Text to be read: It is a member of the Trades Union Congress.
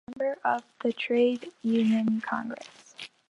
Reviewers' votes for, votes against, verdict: 0, 2, rejected